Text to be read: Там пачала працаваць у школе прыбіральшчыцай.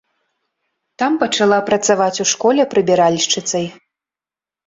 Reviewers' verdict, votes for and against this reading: accepted, 3, 0